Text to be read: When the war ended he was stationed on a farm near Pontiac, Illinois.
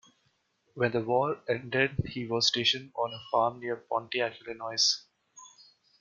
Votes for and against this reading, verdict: 2, 1, accepted